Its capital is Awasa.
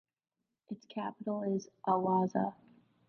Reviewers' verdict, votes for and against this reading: accepted, 2, 0